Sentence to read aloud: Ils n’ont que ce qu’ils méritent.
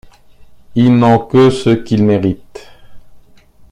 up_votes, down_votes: 2, 0